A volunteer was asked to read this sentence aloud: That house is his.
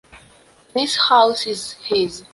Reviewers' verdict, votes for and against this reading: rejected, 1, 2